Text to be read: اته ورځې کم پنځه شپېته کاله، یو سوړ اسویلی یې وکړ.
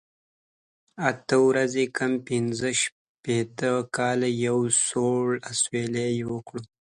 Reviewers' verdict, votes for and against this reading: accepted, 2, 0